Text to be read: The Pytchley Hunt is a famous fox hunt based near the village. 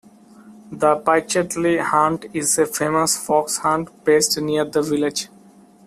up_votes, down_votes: 1, 2